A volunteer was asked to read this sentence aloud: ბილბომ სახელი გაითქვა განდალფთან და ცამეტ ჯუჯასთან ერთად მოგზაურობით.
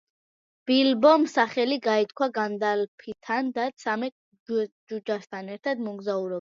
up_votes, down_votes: 1, 2